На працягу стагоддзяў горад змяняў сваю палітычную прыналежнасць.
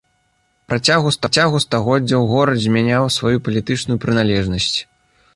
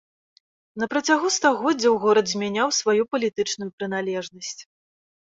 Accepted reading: second